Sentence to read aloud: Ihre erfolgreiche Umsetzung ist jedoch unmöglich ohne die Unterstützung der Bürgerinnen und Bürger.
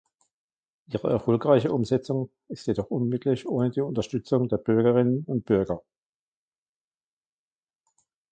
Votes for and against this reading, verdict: 1, 2, rejected